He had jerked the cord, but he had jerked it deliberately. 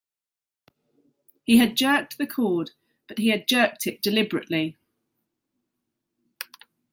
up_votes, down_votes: 2, 0